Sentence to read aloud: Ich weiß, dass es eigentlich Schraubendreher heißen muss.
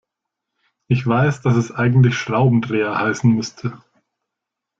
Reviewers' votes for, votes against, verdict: 0, 2, rejected